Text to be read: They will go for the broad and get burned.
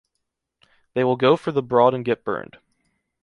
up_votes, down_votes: 2, 0